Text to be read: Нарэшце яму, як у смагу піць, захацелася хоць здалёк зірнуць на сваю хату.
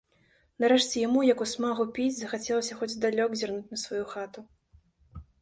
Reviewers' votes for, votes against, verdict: 2, 0, accepted